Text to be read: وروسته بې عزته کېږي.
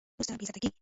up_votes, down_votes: 0, 2